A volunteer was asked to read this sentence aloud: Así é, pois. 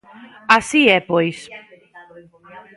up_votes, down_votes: 2, 0